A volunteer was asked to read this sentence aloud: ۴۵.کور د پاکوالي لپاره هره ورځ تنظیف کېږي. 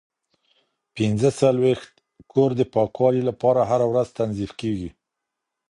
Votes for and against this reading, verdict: 0, 2, rejected